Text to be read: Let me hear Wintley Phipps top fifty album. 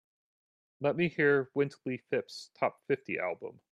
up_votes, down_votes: 2, 0